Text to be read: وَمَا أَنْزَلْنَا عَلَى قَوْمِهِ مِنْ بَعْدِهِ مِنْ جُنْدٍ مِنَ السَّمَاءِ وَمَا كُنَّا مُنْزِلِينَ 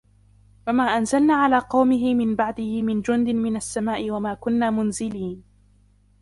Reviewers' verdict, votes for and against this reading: accepted, 2, 1